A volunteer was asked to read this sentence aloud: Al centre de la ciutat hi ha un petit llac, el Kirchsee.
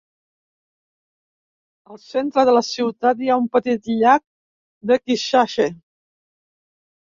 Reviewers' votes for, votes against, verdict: 0, 2, rejected